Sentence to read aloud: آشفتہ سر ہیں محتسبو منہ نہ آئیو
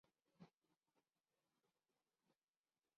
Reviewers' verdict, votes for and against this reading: rejected, 2, 5